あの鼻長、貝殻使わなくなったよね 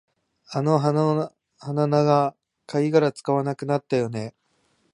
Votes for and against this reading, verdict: 0, 2, rejected